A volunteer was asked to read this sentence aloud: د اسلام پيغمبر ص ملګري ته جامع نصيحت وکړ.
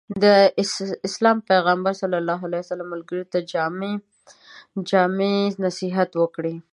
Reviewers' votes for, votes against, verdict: 0, 2, rejected